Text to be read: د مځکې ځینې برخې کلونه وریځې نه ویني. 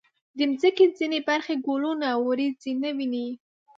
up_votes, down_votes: 1, 2